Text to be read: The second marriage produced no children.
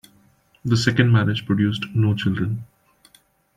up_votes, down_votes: 2, 0